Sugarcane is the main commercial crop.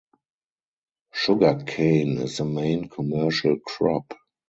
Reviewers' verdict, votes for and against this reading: rejected, 2, 2